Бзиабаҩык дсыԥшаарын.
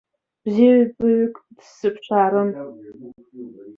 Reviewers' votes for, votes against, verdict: 0, 2, rejected